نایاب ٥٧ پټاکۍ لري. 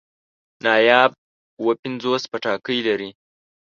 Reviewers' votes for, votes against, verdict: 0, 2, rejected